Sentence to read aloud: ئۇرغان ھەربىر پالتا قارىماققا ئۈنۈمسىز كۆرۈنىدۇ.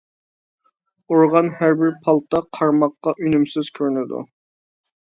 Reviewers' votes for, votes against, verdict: 2, 0, accepted